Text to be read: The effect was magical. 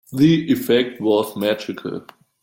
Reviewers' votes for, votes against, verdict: 2, 0, accepted